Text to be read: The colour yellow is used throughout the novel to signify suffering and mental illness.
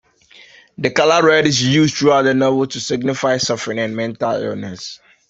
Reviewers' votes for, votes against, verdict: 0, 2, rejected